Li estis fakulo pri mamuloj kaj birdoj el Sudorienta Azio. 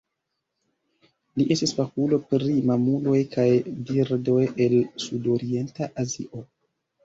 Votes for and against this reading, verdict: 2, 0, accepted